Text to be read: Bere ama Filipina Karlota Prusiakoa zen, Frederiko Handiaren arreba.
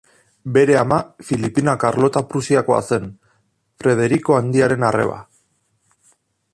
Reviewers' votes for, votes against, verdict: 2, 0, accepted